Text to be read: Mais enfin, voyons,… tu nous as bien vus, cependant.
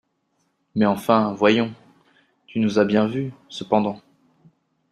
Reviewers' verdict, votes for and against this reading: accepted, 2, 0